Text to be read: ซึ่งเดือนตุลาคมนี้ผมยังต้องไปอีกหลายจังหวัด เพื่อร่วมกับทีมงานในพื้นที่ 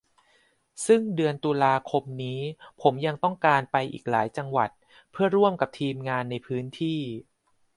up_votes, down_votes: 0, 2